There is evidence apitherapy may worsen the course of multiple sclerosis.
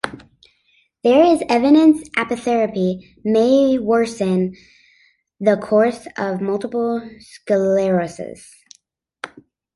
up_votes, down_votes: 2, 1